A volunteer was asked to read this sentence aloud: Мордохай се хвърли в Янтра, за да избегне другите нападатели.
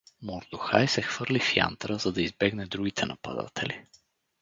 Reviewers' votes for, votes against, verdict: 4, 0, accepted